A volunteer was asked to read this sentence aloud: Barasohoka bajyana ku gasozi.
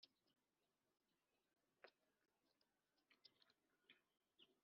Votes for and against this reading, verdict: 0, 2, rejected